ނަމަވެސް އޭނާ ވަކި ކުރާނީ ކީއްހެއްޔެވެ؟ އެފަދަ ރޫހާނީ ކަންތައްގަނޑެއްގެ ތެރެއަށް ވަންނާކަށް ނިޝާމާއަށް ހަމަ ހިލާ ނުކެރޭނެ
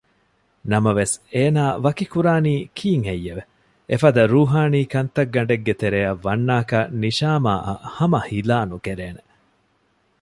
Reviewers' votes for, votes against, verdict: 1, 2, rejected